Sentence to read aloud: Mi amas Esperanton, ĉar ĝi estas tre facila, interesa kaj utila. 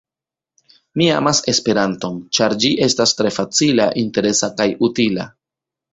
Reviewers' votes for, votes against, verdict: 0, 2, rejected